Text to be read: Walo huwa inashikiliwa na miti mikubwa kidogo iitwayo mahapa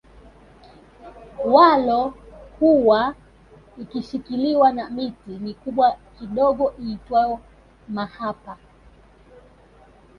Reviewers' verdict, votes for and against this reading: rejected, 0, 2